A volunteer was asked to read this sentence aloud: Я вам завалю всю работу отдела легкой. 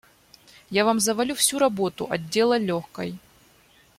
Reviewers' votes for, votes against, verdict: 2, 0, accepted